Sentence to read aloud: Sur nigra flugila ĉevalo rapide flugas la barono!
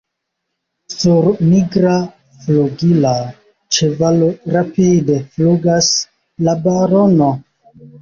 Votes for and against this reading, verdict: 2, 0, accepted